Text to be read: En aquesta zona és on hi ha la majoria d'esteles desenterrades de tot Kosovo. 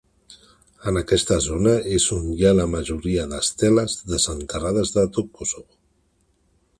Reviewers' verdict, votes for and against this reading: accepted, 2, 0